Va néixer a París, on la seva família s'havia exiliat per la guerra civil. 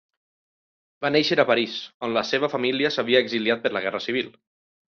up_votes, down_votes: 3, 0